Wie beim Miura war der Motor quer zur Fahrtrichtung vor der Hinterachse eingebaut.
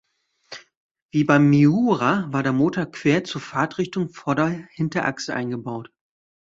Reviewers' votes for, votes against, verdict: 1, 2, rejected